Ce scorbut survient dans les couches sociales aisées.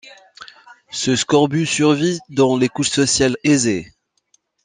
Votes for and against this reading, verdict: 1, 2, rejected